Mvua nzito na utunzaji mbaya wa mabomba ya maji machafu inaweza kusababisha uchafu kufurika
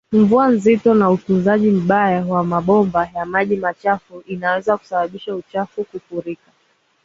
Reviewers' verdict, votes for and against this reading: accepted, 2, 0